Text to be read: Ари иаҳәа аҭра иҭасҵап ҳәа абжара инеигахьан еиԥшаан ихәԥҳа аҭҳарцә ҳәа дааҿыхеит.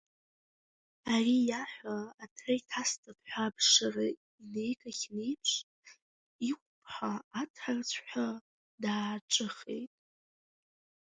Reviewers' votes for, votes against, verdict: 0, 2, rejected